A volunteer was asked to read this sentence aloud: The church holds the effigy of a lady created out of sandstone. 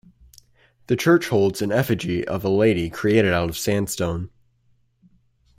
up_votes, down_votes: 0, 2